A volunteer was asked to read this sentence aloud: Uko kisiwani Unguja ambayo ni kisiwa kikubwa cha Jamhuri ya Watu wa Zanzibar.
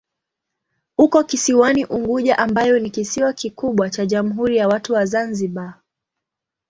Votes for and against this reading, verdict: 2, 0, accepted